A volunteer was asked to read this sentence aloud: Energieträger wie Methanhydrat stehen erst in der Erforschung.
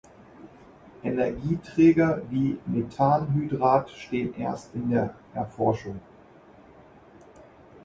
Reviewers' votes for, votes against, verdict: 2, 1, accepted